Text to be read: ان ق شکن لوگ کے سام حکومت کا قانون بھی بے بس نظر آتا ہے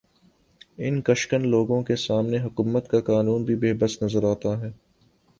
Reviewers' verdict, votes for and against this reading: accepted, 2, 0